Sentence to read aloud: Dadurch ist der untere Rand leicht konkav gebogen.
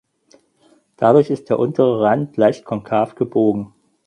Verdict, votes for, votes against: accepted, 4, 0